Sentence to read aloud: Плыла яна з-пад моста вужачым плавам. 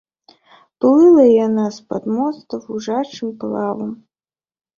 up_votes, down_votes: 3, 0